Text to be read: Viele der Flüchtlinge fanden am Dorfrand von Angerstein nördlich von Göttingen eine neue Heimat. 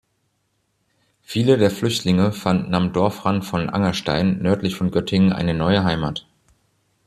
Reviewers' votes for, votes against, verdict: 2, 0, accepted